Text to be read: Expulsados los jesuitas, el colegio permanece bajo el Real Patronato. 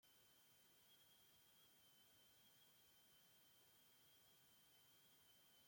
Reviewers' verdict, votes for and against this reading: rejected, 0, 2